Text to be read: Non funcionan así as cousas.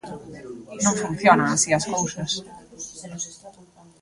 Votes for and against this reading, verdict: 0, 2, rejected